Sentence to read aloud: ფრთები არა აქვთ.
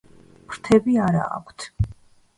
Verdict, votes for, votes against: accepted, 2, 0